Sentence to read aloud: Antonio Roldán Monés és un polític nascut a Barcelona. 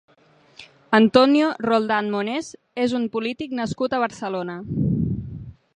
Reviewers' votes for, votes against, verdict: 2, 0, accepted